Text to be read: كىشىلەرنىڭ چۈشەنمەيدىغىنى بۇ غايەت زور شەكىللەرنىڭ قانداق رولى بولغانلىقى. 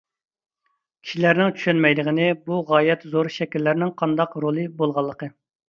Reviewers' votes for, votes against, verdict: 2, 0, accepted